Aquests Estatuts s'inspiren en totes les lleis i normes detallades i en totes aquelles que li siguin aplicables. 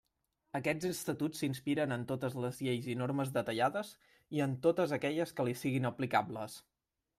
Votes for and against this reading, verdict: 1, 2, rejected